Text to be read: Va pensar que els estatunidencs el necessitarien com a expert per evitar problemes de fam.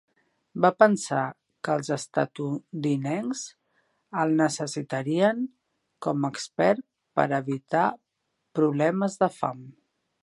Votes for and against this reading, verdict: 1, 2, rejected